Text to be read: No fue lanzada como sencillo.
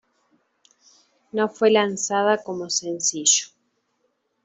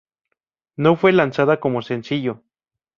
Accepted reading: second